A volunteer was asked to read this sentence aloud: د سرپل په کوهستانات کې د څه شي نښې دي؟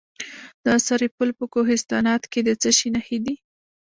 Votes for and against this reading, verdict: 0, 2, rejected